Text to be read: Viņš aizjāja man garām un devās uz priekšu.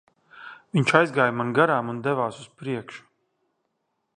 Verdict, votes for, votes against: rejected, 0, 2